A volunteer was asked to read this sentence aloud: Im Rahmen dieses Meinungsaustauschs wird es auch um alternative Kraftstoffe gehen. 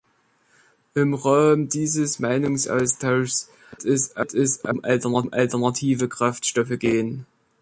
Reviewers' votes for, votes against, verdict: 0, 2, rejected